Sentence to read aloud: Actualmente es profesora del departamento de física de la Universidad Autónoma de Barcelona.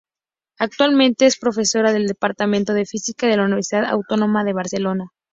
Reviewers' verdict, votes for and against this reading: accepted, 4, 0